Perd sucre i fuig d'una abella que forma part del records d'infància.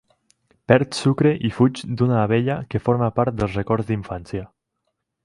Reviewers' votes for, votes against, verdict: 4, 0, accepted